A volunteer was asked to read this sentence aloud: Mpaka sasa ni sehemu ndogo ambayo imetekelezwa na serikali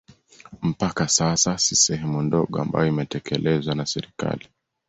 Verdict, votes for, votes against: accepted, 2, 1